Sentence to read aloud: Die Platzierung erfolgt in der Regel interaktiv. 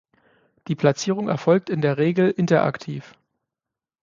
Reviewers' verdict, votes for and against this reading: accepted, 6, 0